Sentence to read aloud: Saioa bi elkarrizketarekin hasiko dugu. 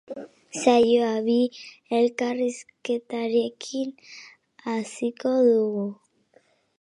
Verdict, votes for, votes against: accepted, 2, 0